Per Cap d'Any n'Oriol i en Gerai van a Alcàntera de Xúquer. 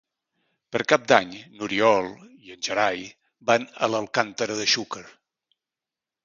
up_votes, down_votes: 0, 2